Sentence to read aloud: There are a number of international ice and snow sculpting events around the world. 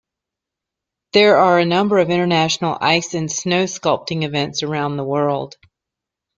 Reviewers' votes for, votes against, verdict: 2, 0, accepted